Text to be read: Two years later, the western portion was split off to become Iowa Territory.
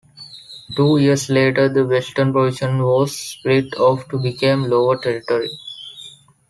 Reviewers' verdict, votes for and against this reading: rejected, 1, 2